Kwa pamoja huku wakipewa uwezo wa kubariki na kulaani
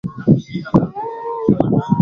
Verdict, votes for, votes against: rejected, 0, 2